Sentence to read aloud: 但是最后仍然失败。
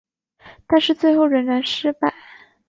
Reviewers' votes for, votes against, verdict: 3, 0, accepted